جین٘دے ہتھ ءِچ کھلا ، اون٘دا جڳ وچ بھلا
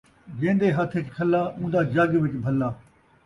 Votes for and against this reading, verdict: 2, 0, accepted